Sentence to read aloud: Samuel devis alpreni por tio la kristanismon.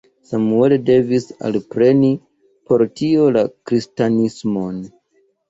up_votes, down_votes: 2, 0